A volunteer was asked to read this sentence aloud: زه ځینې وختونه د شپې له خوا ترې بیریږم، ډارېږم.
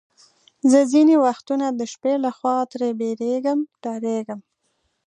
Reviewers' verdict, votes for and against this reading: accepted, 2, 0